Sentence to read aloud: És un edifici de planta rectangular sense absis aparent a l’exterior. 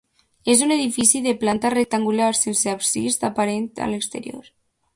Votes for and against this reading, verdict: 2, 0, accepted